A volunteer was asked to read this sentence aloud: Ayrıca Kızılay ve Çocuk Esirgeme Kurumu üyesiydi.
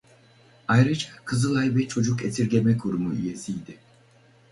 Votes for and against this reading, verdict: 2, 2, rejected